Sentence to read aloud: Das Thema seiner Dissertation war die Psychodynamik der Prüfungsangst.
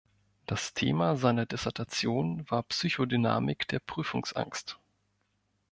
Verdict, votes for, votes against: rejected, 0, 2